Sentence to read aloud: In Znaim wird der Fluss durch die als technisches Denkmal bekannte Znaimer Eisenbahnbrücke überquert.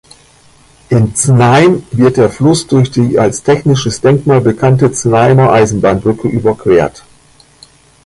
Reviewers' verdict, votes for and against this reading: rejected, 1, 2